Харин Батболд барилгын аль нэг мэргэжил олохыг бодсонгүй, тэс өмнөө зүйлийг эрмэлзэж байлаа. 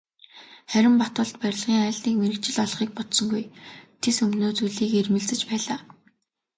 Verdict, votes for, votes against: rejected, 0, 2